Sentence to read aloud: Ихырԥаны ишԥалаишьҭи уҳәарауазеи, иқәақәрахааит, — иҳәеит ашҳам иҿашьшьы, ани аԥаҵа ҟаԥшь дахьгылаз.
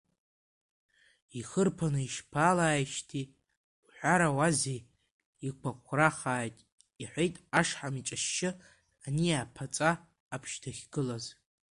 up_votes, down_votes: 0, 2